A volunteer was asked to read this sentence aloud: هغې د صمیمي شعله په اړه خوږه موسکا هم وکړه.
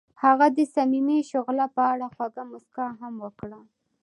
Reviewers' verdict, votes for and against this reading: accepted, 2, 0